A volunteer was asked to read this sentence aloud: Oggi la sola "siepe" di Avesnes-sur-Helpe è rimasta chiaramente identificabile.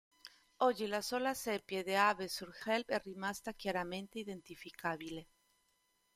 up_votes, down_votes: 2, 1